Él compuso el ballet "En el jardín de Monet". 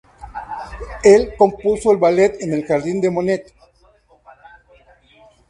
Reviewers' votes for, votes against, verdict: 2, 0, accepted